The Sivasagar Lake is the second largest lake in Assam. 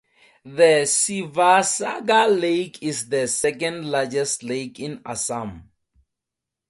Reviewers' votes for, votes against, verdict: 0, 4, rejected